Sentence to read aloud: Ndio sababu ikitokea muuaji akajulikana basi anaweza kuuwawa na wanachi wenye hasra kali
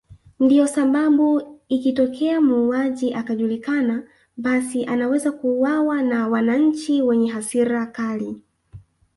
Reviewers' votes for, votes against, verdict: 0, 2, rejected